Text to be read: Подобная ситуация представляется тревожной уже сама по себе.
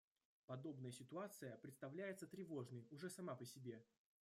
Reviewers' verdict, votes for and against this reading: rejected, 0, 2